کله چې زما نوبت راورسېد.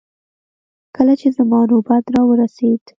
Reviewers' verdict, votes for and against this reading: rejected, 0, 2